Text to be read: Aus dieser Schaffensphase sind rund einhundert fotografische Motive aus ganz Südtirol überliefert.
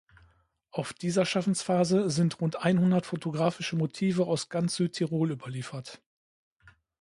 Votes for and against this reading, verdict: 1, 2, rejected